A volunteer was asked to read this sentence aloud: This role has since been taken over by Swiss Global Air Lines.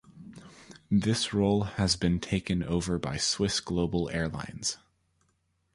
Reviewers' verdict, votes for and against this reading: accepted, 2, 1